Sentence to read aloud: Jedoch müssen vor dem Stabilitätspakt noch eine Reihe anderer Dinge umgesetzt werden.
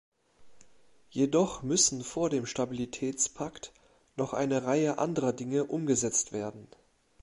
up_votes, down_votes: 2, 0